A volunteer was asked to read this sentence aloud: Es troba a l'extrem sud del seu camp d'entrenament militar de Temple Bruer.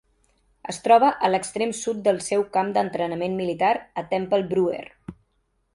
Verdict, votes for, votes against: rejected, 0, 2